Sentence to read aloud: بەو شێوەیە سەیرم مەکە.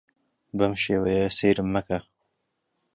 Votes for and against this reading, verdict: 2, 0, accepted